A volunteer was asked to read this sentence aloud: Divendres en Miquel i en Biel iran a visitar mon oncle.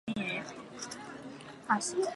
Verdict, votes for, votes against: rejected, 0, 4